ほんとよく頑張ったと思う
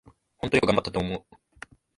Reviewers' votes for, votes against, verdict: 2, 0, accepted